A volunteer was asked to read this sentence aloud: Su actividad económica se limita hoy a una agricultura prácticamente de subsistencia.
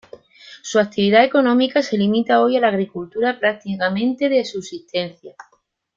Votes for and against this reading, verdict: 0, 2, rejected